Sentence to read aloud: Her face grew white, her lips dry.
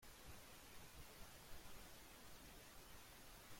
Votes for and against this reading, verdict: 0, 2, rejected